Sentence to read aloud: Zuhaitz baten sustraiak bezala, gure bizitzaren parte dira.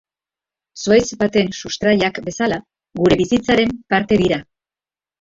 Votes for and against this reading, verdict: 2, 0, accepted